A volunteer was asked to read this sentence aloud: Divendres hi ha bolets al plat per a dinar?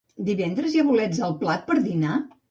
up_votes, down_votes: 1, 2